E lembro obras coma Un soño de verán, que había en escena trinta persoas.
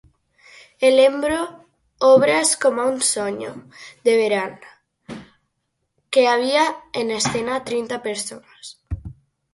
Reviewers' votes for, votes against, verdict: 2, 4, rejected